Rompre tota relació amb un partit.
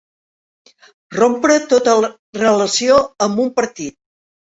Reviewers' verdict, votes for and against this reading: rejected, 0, 4